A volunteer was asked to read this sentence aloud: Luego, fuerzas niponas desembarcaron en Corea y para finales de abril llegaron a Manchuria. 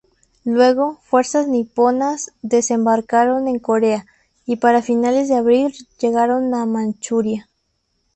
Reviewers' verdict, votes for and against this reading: rejected, 0, 2